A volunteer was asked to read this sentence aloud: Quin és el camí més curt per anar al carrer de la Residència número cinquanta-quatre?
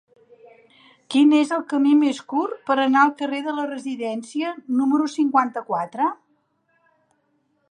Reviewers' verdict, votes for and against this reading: accepted, 3, 1